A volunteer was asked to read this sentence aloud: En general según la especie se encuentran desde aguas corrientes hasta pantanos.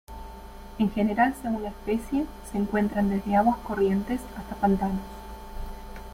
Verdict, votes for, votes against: accepted, 2, 0